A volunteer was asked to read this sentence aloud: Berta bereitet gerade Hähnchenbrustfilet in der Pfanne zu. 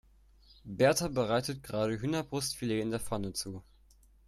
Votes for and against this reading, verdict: 1, 2, rejected